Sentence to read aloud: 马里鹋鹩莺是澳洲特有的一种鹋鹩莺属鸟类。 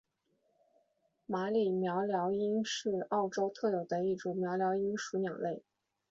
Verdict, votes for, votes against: accepted, 2, 0